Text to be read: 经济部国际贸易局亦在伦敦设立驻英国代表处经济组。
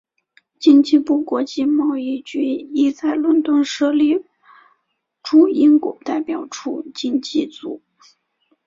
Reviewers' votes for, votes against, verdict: 3, 0, accepted